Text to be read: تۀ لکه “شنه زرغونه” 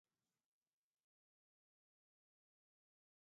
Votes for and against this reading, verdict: 0, 2, rejected